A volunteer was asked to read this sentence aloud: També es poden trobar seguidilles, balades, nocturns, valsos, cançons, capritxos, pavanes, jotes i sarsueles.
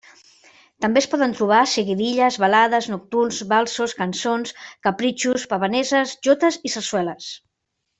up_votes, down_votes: 1, 3